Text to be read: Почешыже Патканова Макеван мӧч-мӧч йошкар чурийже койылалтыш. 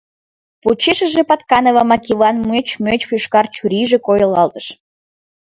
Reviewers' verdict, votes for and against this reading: accepted, 2, 0